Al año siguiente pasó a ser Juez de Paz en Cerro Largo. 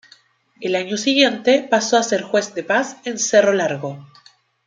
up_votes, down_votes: 2, 0